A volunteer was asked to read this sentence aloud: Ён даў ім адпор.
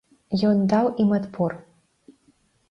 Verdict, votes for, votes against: accepted, 2, 0